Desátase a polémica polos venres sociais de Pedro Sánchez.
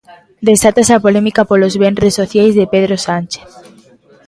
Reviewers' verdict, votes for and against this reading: rejected, 0, 2